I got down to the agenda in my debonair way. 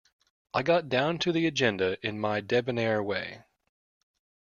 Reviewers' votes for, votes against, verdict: 2, 1, accepted